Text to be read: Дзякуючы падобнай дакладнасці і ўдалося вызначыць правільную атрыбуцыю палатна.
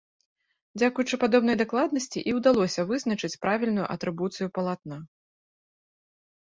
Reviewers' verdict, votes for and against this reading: accepted, 2, 0